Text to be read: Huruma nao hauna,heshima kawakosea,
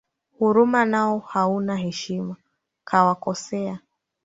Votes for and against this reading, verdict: 1, 2, rejected